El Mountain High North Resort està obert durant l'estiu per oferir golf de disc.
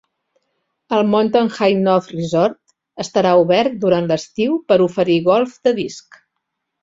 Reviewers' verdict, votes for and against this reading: rejected, 1, 2